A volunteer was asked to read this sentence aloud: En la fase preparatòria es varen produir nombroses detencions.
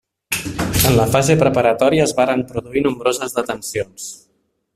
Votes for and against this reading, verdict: 1, 2, rejected